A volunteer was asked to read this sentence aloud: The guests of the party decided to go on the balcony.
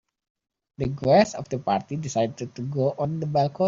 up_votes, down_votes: 2, 5